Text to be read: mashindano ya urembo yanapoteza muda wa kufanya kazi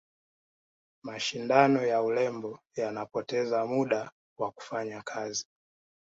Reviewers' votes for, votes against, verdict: 2, 0, accepted